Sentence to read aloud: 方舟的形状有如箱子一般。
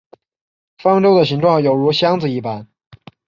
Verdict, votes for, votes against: accepted, 2, 0